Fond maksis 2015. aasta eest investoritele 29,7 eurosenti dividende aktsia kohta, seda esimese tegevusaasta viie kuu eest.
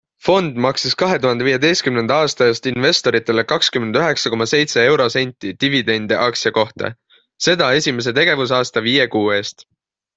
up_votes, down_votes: 0, 2